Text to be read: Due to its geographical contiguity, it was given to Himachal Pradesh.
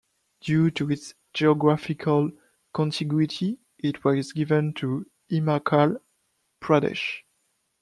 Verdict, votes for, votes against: rejected, 0, 2